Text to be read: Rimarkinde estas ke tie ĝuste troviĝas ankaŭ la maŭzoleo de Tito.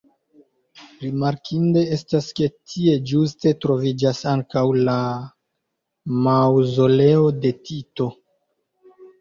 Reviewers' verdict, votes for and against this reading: accepted, 2, 1